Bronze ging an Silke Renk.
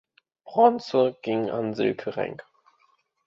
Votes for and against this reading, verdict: 2, 0, accepted